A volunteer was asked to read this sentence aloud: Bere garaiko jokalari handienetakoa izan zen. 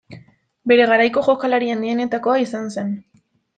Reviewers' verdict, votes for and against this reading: accepted, 2, 0